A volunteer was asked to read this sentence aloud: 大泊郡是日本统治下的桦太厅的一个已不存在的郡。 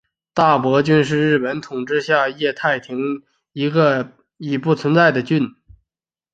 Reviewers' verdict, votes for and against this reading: accepted, 3, 2